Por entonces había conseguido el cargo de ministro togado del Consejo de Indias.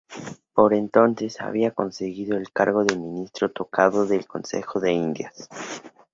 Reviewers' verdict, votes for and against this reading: rejected, 0, 2